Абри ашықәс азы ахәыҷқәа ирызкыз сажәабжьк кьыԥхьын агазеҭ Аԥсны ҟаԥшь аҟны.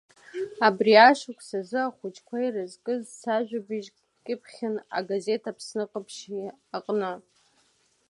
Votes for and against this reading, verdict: 2, 0, accepted